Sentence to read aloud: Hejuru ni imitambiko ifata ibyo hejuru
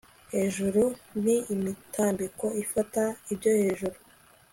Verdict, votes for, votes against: accepted, 3, 0